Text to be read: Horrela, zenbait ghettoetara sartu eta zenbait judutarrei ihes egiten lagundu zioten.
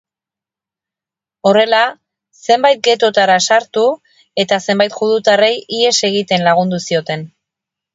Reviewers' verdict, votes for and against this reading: accepted, 6, 0